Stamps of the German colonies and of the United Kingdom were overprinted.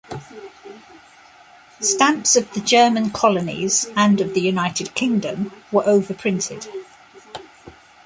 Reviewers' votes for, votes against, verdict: 2, 0, accepted